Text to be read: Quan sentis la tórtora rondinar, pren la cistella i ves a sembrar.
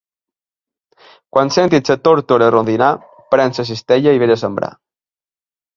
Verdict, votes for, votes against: rejected, 1, 2